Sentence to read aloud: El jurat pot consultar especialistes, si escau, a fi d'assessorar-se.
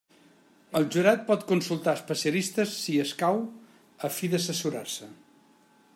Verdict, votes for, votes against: rejected, 1, 2